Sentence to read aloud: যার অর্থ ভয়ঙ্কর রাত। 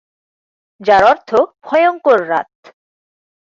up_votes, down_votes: 6, 0